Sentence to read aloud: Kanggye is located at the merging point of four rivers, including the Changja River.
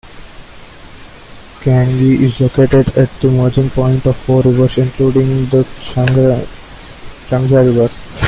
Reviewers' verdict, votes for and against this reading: rejected, 0, 2